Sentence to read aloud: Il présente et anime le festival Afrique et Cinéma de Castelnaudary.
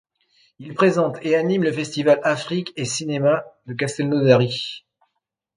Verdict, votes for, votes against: accepted, 2, 0